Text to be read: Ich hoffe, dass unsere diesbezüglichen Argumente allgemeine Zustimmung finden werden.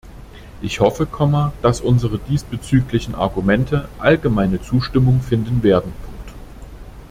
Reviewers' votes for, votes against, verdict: 1, 2, rejected